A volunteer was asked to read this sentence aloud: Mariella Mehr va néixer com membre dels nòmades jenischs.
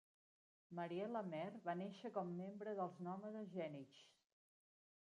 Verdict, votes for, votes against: rejected, 1, 2